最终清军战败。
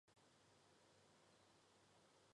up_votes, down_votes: 0, 4